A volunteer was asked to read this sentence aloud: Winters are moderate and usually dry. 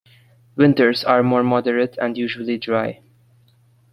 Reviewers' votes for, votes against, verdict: 0, 2, rejected